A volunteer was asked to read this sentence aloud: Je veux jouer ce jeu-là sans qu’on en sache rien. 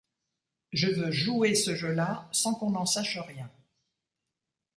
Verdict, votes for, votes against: accepted, 2, 0